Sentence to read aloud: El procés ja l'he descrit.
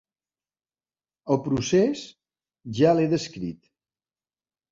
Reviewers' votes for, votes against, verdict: 3, 0, accepted